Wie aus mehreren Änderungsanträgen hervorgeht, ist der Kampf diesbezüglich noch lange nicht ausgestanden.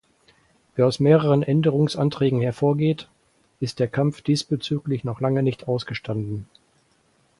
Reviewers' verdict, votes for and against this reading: accepted, 4, 0